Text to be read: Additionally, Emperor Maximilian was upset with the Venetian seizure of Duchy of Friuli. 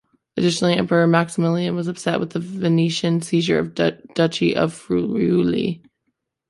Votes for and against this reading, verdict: 1, 2, rejected